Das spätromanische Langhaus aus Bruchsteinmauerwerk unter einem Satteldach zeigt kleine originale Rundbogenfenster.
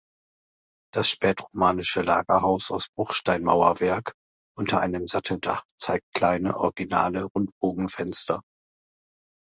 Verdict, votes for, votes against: accepted, 2, 1